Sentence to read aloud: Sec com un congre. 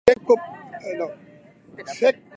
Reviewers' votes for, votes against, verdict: 1, 2, rejected